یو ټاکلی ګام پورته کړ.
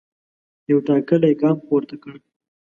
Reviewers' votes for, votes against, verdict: 2, 0, accepted